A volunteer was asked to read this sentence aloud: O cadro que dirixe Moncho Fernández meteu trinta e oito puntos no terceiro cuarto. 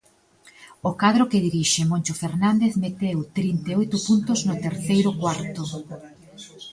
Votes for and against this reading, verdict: 0, 2, rejected